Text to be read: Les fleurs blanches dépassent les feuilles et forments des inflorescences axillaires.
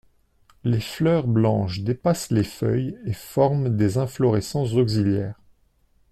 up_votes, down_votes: 1, 2